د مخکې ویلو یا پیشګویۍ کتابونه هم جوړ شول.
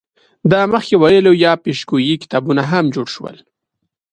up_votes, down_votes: 2, 0